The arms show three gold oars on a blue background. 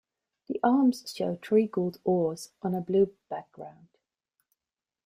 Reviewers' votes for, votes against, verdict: 2, 0, accepted